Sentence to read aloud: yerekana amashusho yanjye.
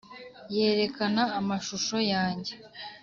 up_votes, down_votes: 2, 0